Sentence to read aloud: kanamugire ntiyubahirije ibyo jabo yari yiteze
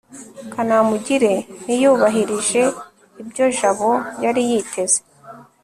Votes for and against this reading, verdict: 3, 0, accepted